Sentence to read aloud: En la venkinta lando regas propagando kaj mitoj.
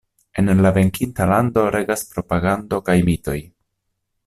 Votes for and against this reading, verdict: 1, 2, rejected